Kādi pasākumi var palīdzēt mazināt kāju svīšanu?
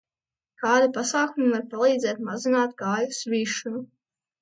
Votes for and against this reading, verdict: 2, 1, accepted